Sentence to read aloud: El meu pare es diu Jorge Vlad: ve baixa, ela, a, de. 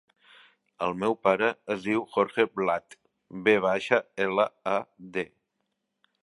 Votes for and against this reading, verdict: 4, 0, accepted